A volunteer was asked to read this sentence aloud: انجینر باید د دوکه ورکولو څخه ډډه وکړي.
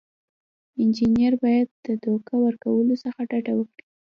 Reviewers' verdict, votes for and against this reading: accepted, 2, 0